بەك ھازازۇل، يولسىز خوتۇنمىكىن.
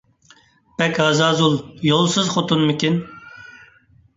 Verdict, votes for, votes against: accepted, 2, 0